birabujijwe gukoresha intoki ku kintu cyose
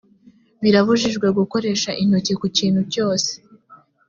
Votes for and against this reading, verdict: 4, 0, accepted